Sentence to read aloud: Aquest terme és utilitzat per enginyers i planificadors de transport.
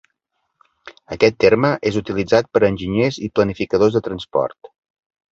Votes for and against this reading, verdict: 2, 0, accepted